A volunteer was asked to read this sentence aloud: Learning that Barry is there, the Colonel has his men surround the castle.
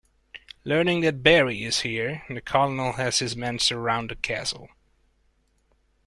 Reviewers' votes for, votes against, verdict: 1, 2, rejected